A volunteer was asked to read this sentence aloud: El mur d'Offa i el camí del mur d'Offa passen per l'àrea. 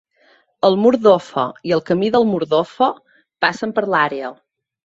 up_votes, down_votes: 2, 0